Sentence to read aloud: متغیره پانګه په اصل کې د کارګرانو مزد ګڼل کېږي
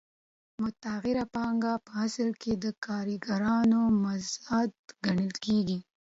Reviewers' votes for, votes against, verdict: 2, 0, accepted